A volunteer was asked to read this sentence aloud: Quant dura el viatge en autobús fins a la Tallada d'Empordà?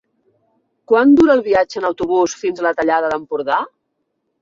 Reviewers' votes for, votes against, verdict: 3, 0, accepted